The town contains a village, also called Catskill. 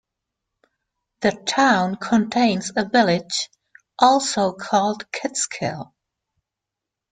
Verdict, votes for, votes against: rejected, 0, 2